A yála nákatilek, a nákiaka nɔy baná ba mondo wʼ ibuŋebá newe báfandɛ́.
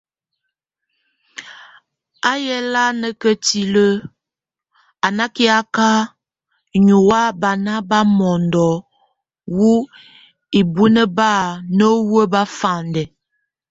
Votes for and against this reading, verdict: 0, 2, rejected